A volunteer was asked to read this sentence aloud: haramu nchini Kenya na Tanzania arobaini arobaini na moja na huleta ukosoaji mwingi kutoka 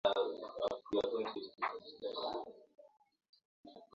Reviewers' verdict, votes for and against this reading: rejected, 0, 2